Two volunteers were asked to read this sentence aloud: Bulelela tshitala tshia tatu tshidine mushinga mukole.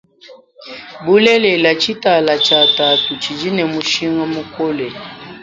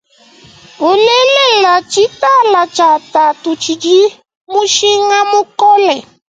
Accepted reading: first